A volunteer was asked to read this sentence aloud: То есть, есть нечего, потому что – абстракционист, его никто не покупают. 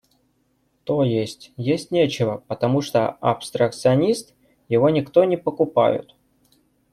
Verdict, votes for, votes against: accepted, 2, 0